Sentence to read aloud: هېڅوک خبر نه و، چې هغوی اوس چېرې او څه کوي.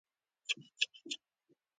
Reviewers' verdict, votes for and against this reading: rejected, 0, 2